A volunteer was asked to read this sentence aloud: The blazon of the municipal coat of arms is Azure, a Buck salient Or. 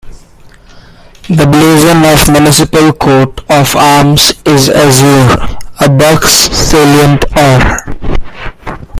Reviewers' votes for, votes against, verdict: 0, 2, rejected